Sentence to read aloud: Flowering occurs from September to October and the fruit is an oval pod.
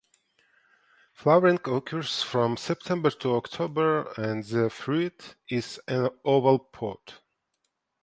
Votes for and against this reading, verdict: 2, 0, accepted